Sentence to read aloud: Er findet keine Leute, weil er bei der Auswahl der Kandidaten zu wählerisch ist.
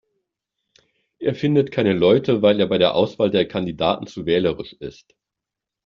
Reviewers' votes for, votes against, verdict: 2, 0, accepted